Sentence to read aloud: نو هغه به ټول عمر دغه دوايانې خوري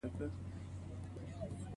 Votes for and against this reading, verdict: 2, 1, accepted